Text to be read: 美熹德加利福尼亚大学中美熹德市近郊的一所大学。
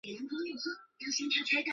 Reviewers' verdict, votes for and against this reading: rejected, 1, 2